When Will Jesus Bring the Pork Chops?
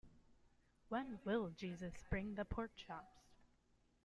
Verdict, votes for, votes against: accepted, 2, 0